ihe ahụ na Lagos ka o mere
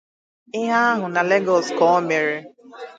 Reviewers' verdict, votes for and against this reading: rejected, 2, 4